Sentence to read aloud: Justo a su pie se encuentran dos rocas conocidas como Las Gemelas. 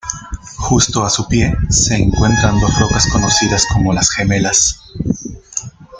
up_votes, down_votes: 1, 2